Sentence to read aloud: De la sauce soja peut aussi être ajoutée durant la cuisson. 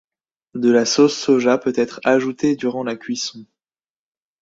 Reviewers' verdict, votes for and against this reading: rejected, 1, 2